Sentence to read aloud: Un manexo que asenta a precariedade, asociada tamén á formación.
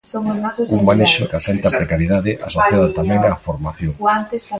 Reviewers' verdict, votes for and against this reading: rejected, 0, 2